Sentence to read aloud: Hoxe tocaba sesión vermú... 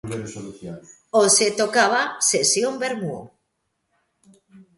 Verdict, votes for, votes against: rejected, 0, 2